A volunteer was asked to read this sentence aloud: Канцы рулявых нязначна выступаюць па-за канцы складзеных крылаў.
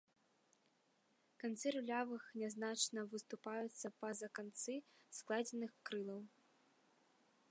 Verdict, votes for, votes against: rejected, 1, 2